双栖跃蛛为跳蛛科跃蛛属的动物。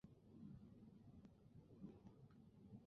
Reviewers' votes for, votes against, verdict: 0, 2, rejected